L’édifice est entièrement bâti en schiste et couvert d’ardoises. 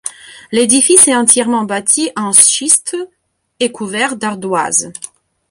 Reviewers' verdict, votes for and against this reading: rejected, 1, 2